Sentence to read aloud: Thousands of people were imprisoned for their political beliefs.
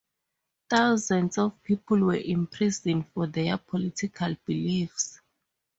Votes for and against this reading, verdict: 4, 0, accepted